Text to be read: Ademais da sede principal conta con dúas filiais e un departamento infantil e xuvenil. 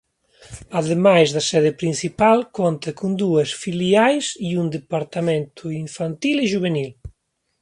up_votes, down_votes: 1, 2